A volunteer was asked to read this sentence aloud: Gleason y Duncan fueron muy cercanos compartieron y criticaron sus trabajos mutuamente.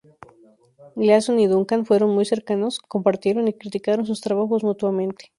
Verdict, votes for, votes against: rejected, 0, 2